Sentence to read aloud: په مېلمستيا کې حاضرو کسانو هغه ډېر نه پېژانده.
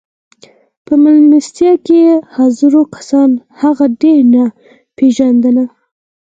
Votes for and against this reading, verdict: 4, 0, accepted